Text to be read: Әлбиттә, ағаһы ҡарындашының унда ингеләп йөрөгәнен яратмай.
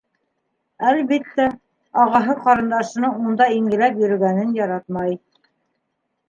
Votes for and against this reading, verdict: 2, 0, accepted